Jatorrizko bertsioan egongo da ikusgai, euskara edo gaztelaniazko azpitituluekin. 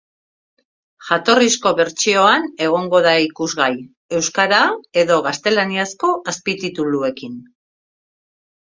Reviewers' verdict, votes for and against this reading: rejected, 0, 2